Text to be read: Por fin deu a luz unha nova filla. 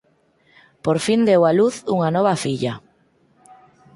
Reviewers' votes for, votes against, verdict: 4, 0, accepted